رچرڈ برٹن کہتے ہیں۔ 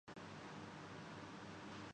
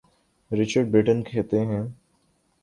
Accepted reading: second